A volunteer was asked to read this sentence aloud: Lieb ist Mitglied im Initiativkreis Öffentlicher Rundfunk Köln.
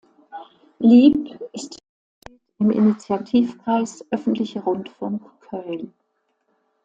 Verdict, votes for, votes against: rejected, 0, 2